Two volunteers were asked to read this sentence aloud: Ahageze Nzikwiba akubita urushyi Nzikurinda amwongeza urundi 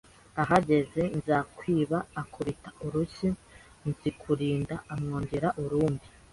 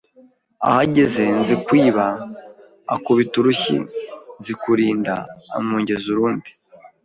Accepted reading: second